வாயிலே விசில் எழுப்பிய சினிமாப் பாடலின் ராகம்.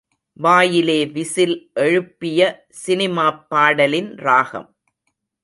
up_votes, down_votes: 2, 0